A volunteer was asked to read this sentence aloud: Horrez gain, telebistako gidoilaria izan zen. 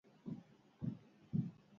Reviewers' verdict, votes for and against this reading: rejected, 0, 6